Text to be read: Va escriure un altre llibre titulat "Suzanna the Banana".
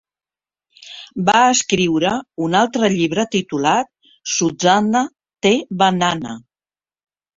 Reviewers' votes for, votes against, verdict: 2, 0, accepted